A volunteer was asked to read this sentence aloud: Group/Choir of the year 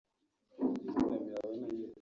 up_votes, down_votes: 0, 3